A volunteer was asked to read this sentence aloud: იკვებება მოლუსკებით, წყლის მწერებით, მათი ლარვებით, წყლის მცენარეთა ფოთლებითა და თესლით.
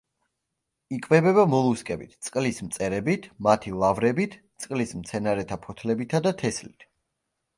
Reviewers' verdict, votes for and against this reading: accepted, 2, 0